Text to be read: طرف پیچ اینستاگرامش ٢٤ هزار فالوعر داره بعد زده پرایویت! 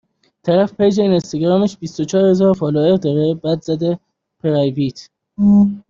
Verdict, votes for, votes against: rejected, 0, 2